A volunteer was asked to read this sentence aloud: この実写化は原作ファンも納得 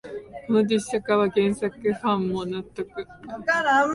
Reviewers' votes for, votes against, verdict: 0, 2, rejected